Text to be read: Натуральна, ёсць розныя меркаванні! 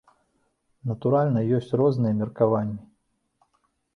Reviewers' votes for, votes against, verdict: 2, 0, accepted